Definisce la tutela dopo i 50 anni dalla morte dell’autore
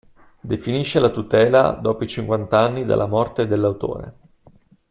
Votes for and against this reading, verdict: 0, 2, rejected